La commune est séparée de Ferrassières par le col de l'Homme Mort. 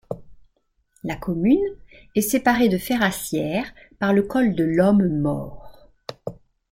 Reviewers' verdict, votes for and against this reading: accepted, 2, 0